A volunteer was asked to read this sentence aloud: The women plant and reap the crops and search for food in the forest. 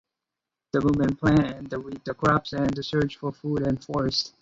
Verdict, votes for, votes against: rejected, 0, 2